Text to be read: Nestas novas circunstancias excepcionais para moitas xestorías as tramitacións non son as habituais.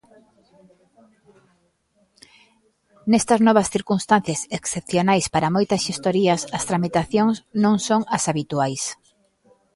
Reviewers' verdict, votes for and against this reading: accepted, 2, 0